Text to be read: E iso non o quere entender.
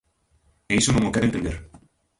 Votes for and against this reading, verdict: 1, 2, rejected